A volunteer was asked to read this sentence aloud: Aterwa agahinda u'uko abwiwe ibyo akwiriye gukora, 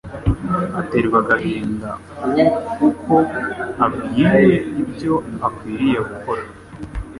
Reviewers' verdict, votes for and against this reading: accepted, 2, 0